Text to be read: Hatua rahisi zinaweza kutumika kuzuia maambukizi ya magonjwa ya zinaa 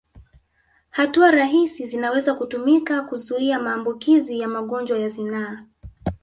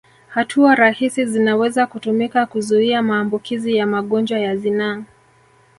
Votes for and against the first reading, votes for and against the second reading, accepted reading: 2, 0, 1, 2, first